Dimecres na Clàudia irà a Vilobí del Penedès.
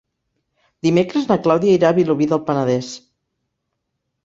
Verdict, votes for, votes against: accepted, 5, 1